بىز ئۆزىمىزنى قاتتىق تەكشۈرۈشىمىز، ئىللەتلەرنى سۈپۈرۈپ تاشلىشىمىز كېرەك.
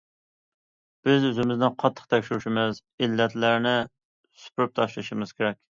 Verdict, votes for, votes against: accepted, 2, 0